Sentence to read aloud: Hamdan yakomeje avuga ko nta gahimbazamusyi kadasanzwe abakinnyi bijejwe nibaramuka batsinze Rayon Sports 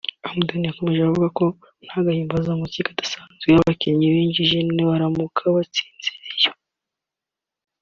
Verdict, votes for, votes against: rejected, 1, 2